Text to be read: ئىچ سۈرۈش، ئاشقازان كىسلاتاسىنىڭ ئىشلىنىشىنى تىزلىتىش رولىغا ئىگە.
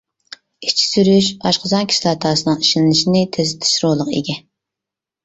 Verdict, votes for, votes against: rejected, 0, 2